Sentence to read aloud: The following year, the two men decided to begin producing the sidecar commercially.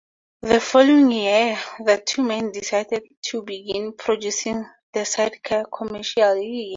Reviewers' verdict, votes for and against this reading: accepted, 4, 0